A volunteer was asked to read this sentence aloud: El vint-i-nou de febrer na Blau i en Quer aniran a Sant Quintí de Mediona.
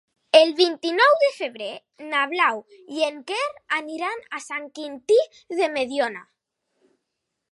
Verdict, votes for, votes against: accepted, 4, 0